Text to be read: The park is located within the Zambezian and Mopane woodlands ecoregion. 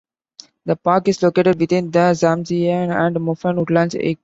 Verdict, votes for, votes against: rejected, 0, 2